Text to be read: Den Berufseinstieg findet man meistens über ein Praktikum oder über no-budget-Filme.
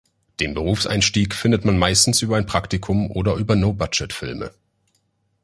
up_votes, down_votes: 2, 1